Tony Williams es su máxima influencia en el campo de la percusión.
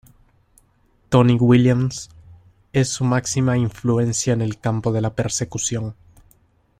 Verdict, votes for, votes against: rejected, 0, 2